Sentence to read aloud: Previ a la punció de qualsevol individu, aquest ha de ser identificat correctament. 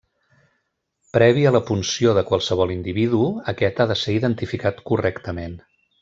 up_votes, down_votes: 2, 0